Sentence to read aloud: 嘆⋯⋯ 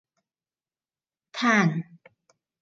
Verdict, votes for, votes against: accepted, 2, 0